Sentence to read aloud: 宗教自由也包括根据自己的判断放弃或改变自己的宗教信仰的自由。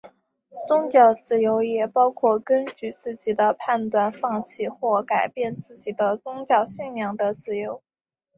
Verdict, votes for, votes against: accepted, 4, 1